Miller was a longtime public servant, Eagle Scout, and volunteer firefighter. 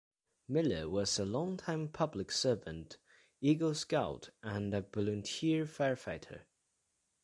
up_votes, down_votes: 2, 1